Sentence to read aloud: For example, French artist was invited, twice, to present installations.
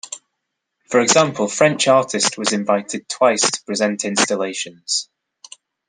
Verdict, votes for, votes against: accepted, 2, 1